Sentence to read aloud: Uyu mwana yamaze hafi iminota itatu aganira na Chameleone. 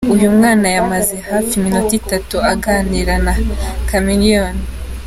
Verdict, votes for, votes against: accepted, 2, 0